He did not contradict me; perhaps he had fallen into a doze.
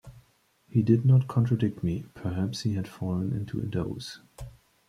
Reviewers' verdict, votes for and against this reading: rejected, 1, 2